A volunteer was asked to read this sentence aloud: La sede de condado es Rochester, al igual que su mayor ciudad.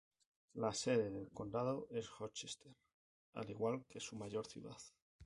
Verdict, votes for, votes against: rejected, 2, 2